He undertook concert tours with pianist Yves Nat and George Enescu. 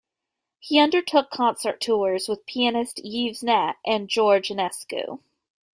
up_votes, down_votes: 2, 0